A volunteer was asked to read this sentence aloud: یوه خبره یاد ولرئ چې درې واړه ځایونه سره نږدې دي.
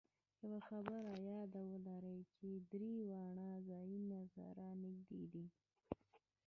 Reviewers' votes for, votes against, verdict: 1, 2, rejected